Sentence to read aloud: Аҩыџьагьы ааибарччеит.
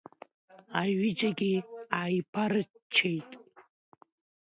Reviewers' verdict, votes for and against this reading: rejected, 0, 2